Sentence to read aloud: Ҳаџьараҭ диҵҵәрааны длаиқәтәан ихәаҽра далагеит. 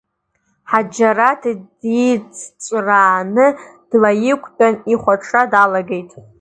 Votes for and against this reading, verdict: 2, 1, accepted